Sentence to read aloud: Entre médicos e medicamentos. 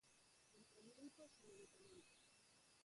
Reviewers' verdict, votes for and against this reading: rejected, 0, 4